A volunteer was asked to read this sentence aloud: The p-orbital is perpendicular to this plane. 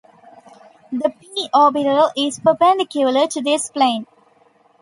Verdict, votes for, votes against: rejected, 0, 2